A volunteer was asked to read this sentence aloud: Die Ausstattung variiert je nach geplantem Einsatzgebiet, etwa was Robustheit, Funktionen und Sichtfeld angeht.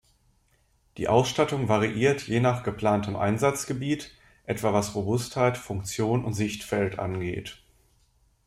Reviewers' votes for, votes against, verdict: 1, 2, rejected